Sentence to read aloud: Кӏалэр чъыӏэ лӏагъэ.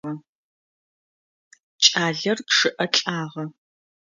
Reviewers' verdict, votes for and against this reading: rejected, 0, 2